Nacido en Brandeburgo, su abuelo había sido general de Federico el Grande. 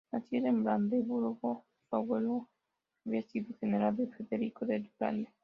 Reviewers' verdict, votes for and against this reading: rejected, 1, 2